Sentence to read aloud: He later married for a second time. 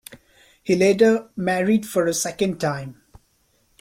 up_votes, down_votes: 2, 0